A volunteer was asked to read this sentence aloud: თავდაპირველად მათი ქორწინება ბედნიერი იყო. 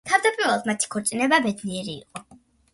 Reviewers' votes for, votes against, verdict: 2, 0, accepted